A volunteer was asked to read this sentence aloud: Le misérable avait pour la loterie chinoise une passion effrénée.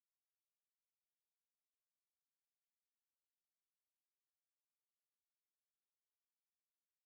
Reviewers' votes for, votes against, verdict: 1, 2, rejected